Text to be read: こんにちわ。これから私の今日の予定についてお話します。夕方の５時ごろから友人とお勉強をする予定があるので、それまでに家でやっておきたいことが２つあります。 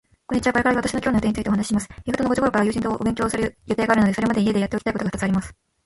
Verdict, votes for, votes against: rejected, 0, 2